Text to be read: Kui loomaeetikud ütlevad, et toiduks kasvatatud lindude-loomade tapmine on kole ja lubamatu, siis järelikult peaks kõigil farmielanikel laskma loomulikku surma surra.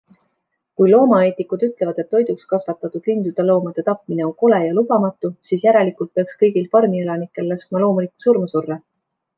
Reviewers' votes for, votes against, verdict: 2, 0, accepted